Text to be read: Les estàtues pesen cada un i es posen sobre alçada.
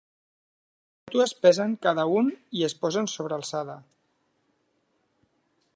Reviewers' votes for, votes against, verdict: 0, 2, rejected